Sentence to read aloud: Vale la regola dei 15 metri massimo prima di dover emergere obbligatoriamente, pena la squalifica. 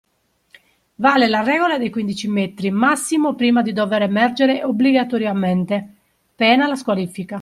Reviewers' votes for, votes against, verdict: 0, 2, rejected